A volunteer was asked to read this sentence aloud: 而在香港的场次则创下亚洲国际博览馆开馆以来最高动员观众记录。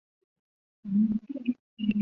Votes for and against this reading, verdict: 0, 2, rejected